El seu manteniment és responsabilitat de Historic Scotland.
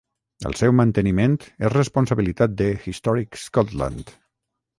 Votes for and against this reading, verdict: 3, 3, rejected